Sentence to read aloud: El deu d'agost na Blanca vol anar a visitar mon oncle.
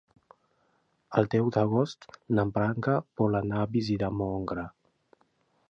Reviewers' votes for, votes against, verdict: 2, 0, accepted